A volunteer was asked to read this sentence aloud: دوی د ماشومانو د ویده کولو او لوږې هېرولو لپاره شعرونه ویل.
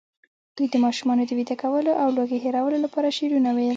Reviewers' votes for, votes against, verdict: 2, 0, accepted